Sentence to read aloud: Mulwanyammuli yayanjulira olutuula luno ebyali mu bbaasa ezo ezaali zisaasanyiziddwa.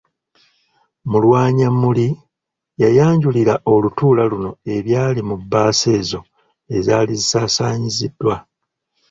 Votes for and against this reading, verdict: 2, 0, accepted